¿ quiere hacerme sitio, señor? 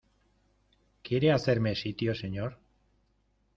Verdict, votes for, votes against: accepted, 2, 0